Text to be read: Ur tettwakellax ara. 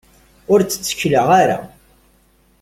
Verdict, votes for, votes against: rejected, 0, 2